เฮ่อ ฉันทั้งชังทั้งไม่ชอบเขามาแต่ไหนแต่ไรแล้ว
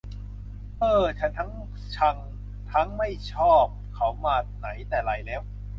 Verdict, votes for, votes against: accepted, 2, 0